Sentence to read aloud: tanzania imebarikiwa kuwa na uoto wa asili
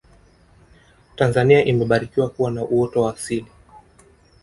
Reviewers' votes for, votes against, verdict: 2, 0, accepted